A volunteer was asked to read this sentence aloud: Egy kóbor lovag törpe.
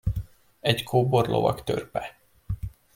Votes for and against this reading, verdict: 2, 0, accepted